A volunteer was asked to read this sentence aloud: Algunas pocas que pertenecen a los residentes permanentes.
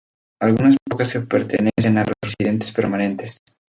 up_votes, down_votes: 0, 2